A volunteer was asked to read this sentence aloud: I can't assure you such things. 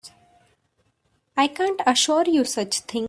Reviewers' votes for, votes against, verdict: 1, 2, rejected